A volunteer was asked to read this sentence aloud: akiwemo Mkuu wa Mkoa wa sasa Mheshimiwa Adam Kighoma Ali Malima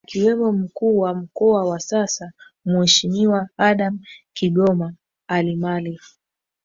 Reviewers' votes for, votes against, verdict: 1, 2, rejected